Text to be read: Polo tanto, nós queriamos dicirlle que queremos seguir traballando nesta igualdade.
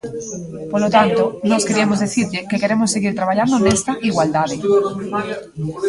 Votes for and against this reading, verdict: 0, 2, rejected